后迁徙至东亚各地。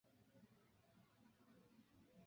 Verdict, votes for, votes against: rejected, 0, 3